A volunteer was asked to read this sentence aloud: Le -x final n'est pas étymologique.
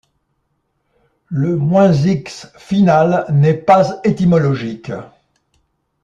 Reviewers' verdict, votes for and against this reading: rejected, 1, 2